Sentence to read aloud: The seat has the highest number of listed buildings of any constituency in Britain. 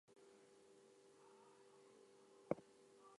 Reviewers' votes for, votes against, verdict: 0, 4, rejected